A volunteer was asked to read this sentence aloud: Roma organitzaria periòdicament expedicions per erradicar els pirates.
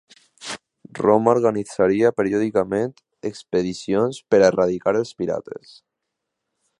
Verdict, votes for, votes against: accepted, 2, 0